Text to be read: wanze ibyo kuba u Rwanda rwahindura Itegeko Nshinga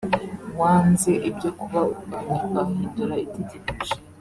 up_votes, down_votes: 0, 2